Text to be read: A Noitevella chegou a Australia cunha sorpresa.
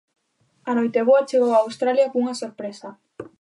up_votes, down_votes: 0, 2